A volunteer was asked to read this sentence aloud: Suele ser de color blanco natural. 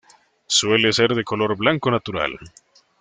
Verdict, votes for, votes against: accepted, 2, 0